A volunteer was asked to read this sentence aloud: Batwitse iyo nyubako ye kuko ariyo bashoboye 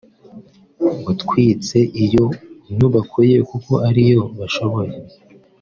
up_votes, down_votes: 1, 2